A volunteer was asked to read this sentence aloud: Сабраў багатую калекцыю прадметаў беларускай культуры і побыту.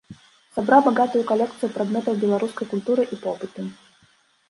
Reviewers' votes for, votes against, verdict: 0, 2, rejected